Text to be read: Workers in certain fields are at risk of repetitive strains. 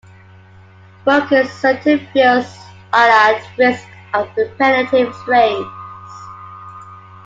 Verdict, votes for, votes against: rejected, 1, 2